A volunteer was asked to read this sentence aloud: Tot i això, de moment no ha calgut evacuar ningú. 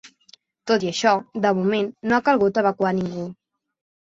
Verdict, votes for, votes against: accepted, 2, 0